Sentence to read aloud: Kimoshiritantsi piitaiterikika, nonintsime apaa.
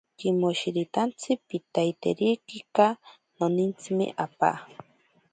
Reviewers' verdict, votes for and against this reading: accepted, 2, 0